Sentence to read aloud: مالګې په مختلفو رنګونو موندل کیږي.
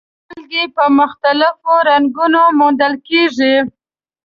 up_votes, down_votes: 2, 0